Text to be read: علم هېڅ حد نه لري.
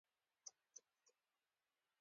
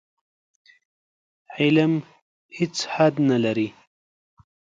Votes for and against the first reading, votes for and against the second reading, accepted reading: 0, 2, 2, 0, second